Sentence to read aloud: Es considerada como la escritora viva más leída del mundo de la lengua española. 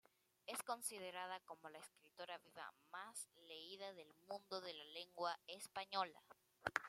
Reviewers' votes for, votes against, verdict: 0, 2, rejected